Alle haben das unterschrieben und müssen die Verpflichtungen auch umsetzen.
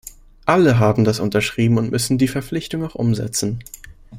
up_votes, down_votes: 0, 2